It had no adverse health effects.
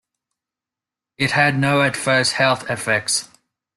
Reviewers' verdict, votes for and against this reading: accepted, 2, 0